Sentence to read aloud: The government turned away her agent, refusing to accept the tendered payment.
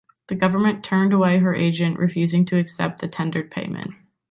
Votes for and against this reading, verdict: 2, 0, accepted